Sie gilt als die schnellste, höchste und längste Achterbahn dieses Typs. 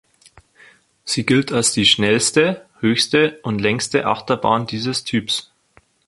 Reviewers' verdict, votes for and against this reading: accepted, 2, 0